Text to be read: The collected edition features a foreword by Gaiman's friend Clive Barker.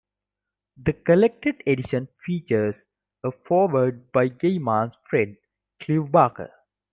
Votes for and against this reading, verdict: 2, 0, accepted